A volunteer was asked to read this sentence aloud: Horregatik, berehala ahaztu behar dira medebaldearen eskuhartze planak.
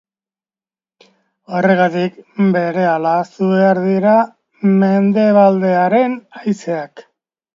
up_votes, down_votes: 0, 2